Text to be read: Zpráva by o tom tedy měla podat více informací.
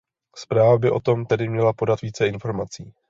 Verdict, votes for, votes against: accepted, 2, 0